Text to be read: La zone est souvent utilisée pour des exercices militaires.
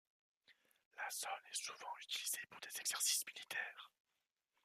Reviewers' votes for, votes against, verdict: 1, 2, rejected